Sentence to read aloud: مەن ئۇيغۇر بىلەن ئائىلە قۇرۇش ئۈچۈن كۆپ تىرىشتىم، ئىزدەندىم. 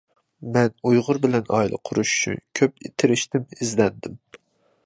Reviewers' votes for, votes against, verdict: 0, 2, rejected